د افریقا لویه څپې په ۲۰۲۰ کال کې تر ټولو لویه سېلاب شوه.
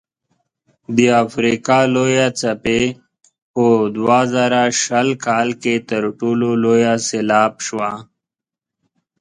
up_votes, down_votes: 0, 2